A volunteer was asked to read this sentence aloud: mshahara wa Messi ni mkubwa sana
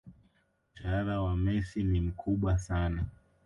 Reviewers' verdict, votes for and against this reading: rejected, 0, 2